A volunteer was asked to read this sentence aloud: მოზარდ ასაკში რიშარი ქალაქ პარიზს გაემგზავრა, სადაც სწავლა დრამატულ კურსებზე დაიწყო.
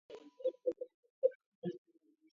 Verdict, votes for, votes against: rejected, 0, 2